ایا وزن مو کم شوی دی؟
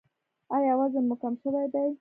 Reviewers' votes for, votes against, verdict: 1, 2, rejected